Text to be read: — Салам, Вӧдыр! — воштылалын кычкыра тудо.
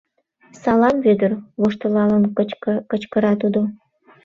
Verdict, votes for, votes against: rejected, 0, 2